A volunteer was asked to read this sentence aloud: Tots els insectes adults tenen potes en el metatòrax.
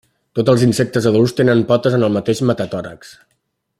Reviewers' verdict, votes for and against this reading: rejected, 1, 2